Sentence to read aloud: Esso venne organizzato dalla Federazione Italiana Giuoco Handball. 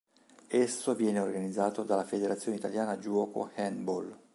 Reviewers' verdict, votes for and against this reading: rejected, 2, 3